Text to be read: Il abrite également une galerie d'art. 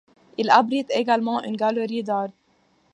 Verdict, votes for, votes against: accepted, 2, 0